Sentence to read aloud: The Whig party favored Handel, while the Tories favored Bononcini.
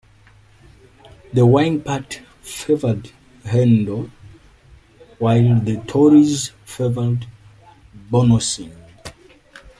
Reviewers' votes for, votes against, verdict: 2, 1, accepted